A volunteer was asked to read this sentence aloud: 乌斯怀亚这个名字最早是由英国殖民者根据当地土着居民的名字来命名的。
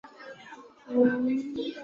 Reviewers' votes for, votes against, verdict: 0, 4, rejected